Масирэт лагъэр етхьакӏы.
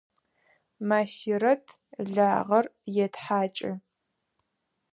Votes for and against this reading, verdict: 4, 0, accepted